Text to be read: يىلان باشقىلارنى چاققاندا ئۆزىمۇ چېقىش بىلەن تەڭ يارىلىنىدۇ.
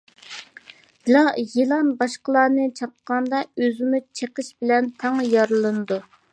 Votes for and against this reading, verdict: 1, 2, rejected